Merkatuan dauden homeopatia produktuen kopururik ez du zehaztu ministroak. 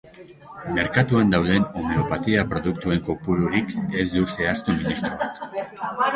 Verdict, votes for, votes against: rejected, 1, 2